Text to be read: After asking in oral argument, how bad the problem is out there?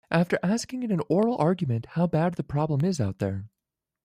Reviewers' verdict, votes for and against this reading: accepted, 2, 0